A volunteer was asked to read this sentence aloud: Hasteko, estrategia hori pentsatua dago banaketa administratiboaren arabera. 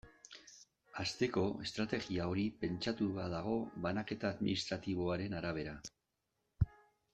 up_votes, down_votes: 2, 0